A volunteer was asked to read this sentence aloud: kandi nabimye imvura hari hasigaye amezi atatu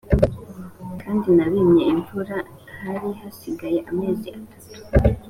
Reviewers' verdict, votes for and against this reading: accepted, 3, 0